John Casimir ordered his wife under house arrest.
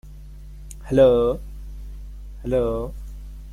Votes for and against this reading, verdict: 0, 2, rejected